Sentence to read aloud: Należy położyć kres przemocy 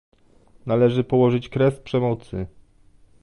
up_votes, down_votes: 2, 0